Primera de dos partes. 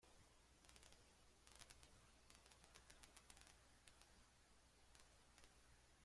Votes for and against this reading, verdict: 0, 2, rejected